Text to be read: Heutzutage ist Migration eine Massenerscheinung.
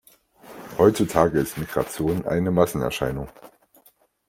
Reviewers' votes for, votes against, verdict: 2, 0, accepted